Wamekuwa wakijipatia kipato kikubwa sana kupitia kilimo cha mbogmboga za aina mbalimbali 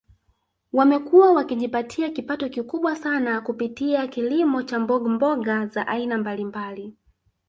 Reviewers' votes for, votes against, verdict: 1, 2, rejected